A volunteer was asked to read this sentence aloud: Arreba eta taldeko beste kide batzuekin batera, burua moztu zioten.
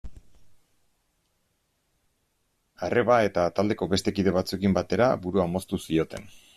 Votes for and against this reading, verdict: 2, 0, accepted